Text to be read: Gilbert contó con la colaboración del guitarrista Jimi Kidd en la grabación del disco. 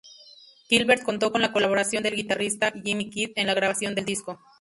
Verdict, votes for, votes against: accepted, 2, 0